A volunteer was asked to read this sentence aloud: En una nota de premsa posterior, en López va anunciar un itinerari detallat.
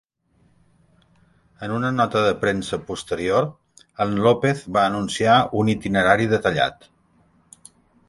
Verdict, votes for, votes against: accepted, 2, 0